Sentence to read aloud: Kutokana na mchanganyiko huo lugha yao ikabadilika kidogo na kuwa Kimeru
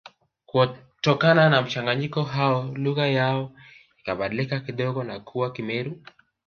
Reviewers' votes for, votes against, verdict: 1, 2, rejected